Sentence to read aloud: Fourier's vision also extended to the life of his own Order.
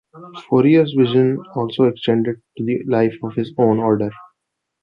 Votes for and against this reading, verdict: 3, 1, accepted